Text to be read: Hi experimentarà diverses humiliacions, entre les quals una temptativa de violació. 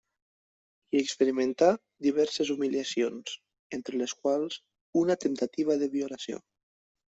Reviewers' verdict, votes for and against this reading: rejected, 1, 2